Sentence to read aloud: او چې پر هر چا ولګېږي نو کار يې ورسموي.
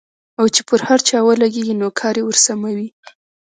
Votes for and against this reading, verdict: 2, 0, accepted